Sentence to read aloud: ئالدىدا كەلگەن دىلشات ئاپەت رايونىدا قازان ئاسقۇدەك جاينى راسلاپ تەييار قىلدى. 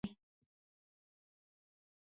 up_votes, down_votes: 0, 2